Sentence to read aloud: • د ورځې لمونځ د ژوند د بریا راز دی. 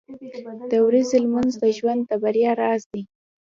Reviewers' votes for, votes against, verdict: 2, 1, accepted